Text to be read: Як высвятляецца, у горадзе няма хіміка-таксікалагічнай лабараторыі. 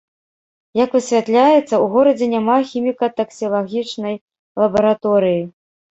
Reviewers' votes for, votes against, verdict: 1, 2, rejected